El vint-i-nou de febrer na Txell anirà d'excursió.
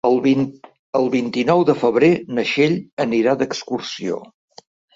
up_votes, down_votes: 1, 2